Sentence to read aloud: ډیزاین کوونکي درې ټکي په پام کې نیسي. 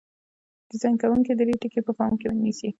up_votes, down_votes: 2, 0